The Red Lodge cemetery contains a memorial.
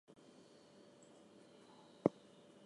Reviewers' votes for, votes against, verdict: 2, 0, accepted